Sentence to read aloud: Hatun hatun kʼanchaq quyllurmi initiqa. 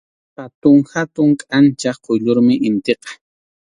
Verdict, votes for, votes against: accepted, 2, 0